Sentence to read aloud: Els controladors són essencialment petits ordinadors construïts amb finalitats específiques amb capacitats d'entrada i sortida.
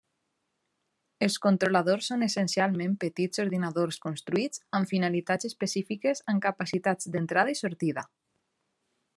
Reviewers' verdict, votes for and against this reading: accepted, 2, 0